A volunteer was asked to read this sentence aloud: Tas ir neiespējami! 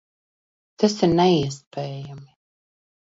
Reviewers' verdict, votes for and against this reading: accepted, 2, 0